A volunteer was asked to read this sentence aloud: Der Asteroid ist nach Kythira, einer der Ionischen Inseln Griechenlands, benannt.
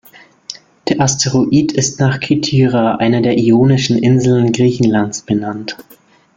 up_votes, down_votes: 2, 0